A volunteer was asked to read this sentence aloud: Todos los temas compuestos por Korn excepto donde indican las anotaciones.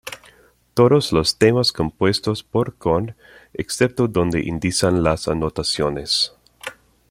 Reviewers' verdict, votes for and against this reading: rejected, 0, 2